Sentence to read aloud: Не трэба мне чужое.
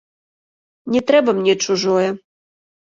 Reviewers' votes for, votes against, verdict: 1, 2, rejected